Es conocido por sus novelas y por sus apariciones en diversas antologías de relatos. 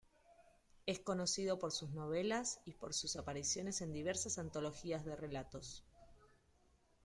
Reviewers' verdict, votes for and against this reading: accepted, 2, 1